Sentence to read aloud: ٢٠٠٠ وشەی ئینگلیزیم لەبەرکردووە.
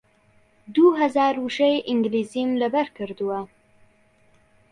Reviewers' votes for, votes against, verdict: 0, 2, rejected